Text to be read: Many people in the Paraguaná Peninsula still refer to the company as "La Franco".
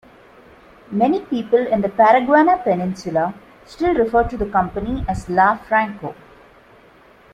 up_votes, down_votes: 2, 1